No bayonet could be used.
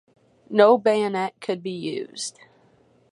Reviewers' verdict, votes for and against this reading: accepted, 4, 0